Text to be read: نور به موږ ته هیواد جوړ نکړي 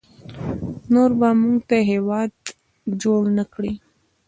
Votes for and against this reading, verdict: 0, 2, rejected